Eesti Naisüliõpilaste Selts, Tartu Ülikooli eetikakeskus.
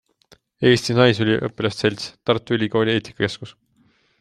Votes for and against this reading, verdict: 2, 0, accepted